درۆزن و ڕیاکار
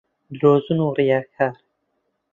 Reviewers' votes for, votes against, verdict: 2, 1, accepted